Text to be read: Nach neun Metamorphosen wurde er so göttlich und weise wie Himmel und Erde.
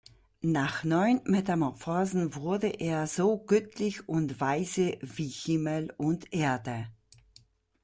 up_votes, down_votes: 0, 2